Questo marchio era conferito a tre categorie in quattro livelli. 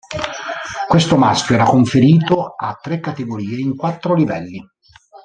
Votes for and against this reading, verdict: 1, 2, rejected